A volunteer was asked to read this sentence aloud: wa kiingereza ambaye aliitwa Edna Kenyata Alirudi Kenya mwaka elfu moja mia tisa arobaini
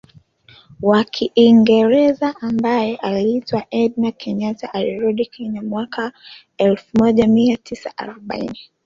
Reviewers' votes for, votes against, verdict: 2, 1, accepted